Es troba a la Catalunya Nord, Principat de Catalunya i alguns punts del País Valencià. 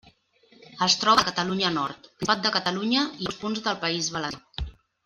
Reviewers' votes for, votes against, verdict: 0, 2, rejected